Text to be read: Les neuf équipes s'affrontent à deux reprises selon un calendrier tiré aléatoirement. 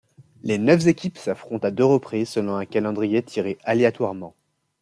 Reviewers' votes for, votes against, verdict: 1, 2, rejected